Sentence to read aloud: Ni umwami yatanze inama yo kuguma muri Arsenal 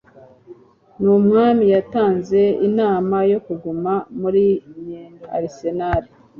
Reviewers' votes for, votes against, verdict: 2, 0, accepted